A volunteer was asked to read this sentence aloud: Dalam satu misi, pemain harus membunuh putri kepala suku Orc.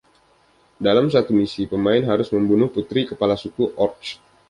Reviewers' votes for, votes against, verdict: 2, 0, accepted